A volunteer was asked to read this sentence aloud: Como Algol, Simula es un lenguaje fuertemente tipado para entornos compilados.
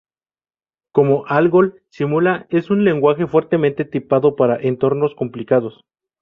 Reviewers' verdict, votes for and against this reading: rejected, 0, 2